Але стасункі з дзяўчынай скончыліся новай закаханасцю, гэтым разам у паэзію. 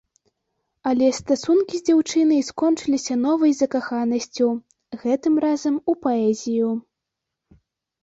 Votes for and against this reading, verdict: 2, 0, accepted